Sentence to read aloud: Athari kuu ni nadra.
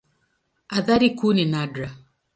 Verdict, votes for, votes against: accepted, 2, 0